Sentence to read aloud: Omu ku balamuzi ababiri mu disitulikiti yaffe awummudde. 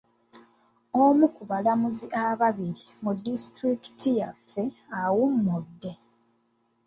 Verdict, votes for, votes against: rejected, 0, 2